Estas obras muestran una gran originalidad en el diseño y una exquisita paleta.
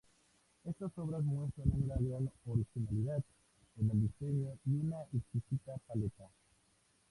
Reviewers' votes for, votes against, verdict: 2, 0, accepted